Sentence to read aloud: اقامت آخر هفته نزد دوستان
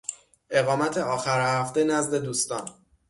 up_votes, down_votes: 6, 0